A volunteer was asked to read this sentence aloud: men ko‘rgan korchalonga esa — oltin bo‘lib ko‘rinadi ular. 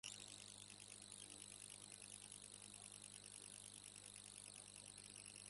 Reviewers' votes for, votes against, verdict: 0, 2, rejected